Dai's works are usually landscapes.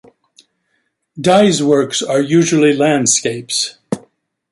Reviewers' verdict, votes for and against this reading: accepted, 2, 0